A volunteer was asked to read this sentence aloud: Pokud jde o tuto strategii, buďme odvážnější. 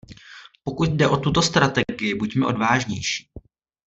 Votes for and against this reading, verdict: 1, 2, rejected